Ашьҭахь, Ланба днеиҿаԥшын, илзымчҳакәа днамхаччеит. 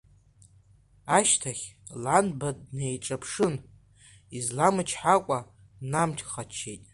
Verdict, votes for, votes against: rejected, 0, 2